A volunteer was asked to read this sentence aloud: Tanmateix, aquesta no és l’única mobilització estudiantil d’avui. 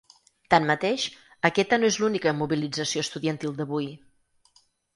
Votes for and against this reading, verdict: 2, 4, rejected